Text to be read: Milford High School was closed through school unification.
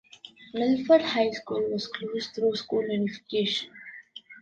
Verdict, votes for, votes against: rejected, 1, 2